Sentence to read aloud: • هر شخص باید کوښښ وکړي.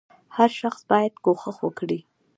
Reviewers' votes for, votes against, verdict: 2, 1, accepted